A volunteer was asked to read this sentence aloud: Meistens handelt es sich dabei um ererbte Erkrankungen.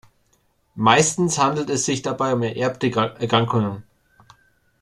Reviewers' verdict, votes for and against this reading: rejected, 0, 2